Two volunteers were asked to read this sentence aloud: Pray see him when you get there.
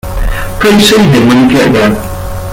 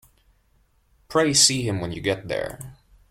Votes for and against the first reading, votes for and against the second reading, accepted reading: 0, 2, 2, 0, second